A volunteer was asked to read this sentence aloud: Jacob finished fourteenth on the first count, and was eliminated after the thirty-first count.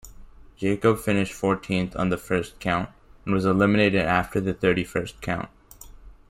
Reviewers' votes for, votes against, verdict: 0, 2, rejected